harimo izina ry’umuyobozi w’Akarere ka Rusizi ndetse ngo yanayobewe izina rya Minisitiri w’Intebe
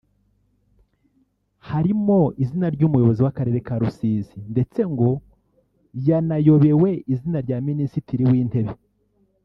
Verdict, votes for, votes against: rejected, 1, 2